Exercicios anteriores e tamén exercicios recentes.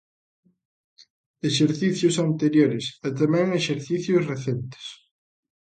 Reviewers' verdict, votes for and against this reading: accepted, 2, 0